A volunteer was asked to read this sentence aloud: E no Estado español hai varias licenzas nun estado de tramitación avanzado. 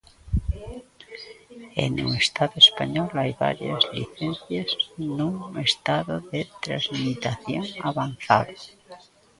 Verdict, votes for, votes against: rejected, 0, 2